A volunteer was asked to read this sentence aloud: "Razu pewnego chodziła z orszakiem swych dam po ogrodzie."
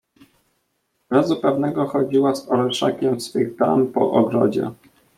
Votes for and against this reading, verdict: 2, 0, accepted